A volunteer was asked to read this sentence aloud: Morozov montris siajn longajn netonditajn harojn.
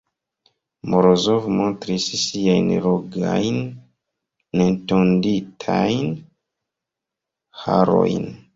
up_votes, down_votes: 1, 2